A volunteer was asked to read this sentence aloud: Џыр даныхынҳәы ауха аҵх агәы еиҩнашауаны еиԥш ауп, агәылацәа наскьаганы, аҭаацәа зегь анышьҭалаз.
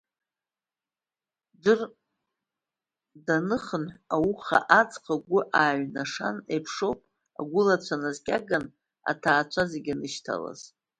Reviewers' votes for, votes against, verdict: 1, 2, rejected